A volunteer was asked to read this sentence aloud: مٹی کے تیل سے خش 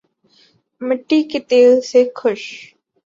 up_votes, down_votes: 7, 2